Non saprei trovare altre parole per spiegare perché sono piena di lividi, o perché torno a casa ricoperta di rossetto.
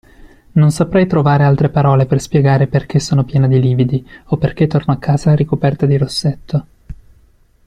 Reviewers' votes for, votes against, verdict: 2, 0, accepted